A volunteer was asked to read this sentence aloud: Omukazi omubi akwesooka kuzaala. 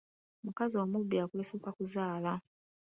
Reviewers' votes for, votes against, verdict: 2, 0, accepted